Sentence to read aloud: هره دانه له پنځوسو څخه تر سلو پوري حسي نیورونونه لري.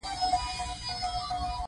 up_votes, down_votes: 0, 2